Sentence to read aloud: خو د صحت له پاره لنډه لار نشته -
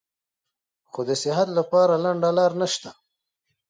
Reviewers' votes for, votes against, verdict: 2, 1, accepted